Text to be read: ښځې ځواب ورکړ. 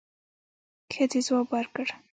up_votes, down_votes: 2, 0